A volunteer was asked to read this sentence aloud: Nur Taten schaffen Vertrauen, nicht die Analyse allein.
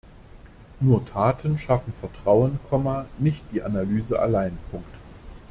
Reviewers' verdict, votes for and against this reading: rejected, 0, 2